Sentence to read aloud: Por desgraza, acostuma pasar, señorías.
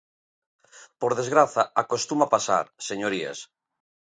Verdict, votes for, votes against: accepted, 2, 0